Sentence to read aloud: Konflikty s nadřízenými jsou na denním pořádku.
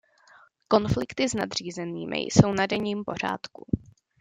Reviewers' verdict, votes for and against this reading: accepted, 2, 0